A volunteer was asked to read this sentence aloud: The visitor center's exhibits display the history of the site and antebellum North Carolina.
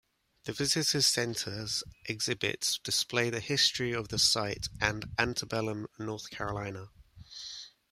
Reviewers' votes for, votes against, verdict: 0, 2, rejected